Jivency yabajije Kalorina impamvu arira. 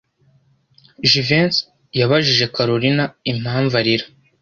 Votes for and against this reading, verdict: 2, 0, accepted